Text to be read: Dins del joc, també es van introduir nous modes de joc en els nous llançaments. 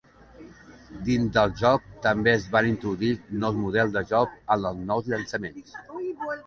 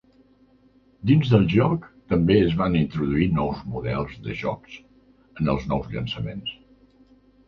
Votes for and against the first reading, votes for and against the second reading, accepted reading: 1, 2, 2, 0, second